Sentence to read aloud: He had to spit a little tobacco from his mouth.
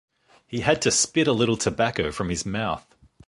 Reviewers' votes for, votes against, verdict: 2, 0, accepted